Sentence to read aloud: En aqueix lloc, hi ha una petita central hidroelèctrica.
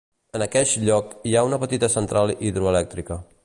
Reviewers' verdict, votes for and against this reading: accepted, 2, 0